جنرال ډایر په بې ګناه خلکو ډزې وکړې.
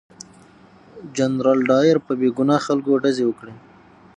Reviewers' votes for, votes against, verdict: 6, 3, accepted